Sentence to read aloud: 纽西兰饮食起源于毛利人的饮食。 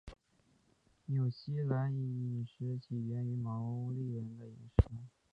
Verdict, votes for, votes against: rejected, 0, 2